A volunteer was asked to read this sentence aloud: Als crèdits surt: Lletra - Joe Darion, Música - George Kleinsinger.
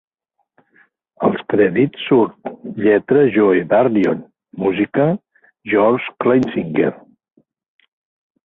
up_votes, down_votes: 2, 0